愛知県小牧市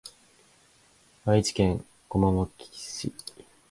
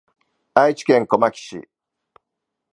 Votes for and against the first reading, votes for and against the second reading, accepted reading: 1, 2, 2, 0, second